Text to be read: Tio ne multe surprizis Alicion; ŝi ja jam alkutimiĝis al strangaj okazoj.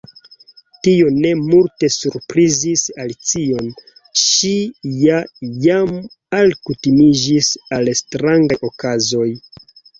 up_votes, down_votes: 2, 1